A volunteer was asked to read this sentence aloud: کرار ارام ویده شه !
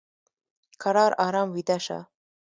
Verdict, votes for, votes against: accepted, 2, 0